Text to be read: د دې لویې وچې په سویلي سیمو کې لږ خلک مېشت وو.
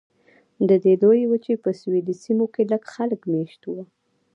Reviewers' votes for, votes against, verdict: 1, 2, rejected